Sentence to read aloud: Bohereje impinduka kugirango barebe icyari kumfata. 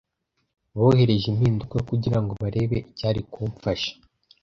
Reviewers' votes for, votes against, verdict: 1, 2, rejected